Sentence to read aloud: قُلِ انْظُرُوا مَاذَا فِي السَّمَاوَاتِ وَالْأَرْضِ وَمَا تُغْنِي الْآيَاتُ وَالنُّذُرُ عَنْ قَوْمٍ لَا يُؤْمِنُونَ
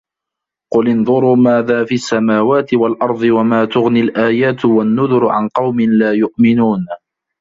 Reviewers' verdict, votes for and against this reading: rejected, 0, 2